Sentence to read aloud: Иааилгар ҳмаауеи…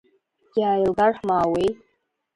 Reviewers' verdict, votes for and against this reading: rejected, 0, 2